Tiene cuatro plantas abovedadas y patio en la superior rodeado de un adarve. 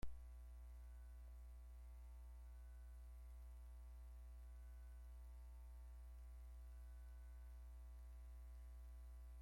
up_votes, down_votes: 0, 2